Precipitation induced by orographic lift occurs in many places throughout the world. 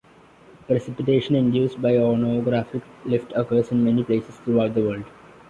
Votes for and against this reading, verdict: 0, 2, rejected